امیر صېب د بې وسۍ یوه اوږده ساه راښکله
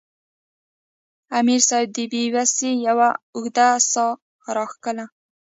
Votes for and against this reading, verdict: 1, 2, rejected